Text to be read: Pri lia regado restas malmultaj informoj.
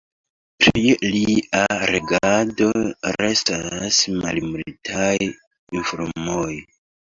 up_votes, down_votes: 0, 3